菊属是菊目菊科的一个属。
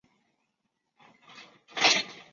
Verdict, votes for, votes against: rejected, 1, 2